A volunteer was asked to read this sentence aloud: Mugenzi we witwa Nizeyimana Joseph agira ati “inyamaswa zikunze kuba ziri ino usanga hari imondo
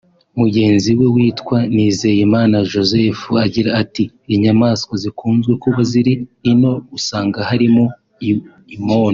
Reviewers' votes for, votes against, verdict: 0, 2, rejected